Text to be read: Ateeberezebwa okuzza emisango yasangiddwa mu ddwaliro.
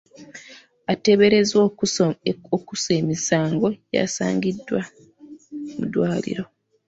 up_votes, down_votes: 1, 2